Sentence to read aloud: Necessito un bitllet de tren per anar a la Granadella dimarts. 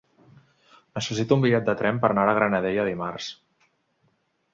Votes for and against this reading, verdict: 2, 0, accepted